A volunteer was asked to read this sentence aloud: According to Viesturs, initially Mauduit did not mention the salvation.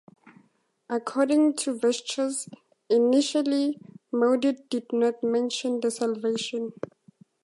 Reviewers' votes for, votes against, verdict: 2, 0, accepted